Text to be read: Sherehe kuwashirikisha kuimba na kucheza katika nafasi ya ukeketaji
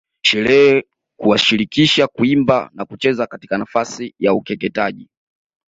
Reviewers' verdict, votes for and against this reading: rejected, 0, 2